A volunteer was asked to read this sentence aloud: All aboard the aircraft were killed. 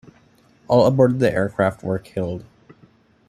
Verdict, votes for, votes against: accepted, 2, 1